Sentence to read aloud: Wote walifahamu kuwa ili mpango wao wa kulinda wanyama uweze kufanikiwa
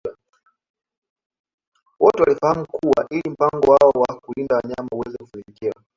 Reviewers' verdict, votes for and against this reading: rejected, 1, 2